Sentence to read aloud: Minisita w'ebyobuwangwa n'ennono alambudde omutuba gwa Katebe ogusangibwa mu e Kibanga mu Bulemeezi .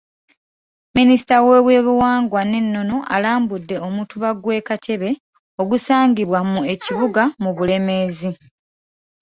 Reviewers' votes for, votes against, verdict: 1, 2, rejected